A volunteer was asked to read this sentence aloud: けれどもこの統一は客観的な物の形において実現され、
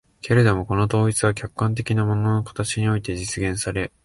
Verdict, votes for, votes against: accepted, 2, 0